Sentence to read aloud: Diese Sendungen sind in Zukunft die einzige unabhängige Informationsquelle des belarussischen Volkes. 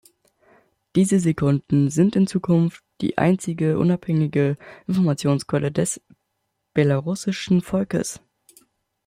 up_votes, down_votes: 0, 2